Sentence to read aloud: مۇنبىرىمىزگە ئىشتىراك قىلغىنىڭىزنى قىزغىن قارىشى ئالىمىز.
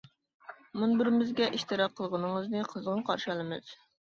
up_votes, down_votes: 2, 0